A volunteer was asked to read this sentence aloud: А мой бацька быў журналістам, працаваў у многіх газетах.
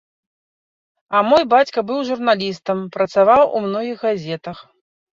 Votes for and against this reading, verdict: 1, 3, rejected